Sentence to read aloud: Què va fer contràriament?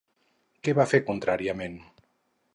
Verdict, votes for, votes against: accepted, 4, 0